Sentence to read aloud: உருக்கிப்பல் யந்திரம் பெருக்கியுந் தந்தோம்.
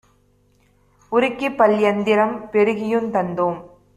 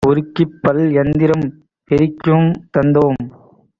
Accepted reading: first